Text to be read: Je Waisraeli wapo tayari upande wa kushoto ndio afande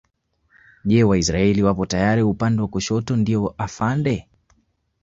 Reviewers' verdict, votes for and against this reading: accepted, 2, 0